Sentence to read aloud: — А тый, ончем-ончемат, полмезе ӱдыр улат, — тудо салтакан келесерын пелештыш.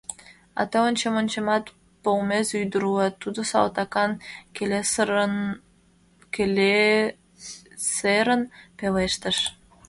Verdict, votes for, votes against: rejected, 0, 2